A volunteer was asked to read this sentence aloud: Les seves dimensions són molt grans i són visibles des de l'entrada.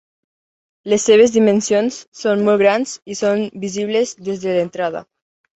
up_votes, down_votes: 5, 0